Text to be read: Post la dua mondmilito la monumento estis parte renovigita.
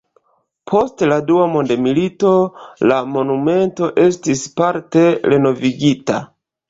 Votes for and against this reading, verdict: 2, 0, accepted